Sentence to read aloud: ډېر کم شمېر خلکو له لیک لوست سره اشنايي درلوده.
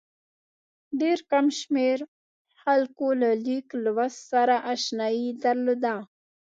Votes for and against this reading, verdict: 2, 0, accepted